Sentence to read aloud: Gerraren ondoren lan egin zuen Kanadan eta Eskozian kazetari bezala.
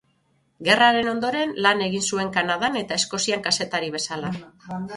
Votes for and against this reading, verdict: 6, 0, accepted